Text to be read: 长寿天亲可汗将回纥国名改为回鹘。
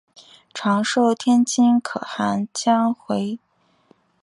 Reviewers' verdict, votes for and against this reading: rejected, 0, 3